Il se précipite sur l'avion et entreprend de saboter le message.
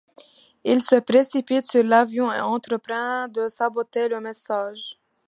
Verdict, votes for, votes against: accepted, 2, 0